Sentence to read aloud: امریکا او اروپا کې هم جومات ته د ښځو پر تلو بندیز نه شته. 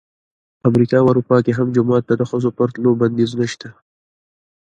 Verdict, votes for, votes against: rejected, 1, 2